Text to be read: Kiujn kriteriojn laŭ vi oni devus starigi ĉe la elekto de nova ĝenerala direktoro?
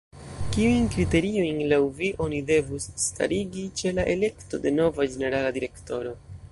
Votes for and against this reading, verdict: 2, 1, accepted